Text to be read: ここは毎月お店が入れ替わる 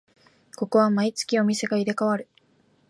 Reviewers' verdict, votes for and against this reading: accepted, 2, 0